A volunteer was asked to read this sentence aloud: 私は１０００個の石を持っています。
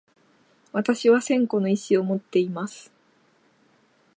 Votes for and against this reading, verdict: 0, 2, rejected